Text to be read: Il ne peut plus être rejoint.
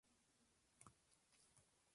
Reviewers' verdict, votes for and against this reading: rejected, 1, 2